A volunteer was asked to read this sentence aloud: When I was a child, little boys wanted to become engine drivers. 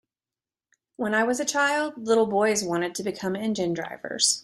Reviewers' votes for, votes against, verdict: 2, 0, accepted